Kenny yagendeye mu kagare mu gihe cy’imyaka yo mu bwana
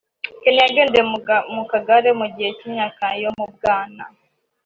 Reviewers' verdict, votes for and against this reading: accepted, 2, 1